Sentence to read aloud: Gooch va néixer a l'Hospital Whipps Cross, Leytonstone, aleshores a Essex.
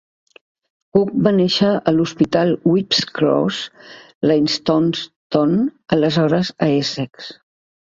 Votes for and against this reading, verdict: 1, 2, rejected